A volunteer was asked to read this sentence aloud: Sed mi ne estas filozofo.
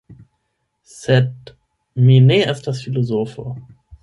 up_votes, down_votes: 8, 4